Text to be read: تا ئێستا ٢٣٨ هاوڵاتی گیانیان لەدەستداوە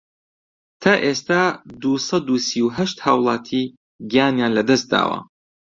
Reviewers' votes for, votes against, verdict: 0, 2, rejected